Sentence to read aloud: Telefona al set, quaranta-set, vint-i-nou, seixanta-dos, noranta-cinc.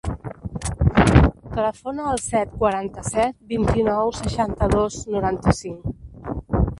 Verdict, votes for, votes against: rejected, 1, 2